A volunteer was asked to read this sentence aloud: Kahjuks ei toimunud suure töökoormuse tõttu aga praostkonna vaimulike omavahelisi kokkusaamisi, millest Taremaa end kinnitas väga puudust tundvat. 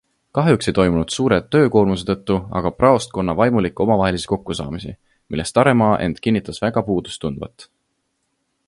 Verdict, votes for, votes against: accepted, 2, 0